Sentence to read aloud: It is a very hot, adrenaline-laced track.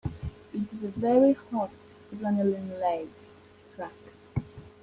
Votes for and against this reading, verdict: 0, 2, rejected